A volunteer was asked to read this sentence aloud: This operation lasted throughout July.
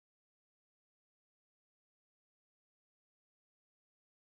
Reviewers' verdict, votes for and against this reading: rejected, 0, 2